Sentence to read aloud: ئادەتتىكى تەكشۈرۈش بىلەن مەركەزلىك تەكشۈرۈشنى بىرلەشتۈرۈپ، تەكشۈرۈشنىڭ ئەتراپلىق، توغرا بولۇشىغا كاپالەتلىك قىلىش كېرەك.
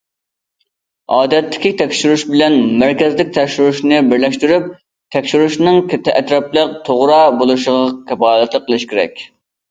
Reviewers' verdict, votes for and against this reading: rejected, 1, 2